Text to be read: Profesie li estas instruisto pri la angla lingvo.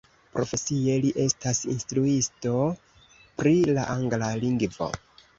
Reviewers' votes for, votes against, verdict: 2, 1, accepted